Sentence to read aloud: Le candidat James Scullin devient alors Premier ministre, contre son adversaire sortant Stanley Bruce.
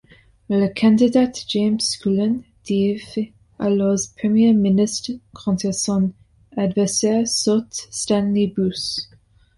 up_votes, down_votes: 0, 2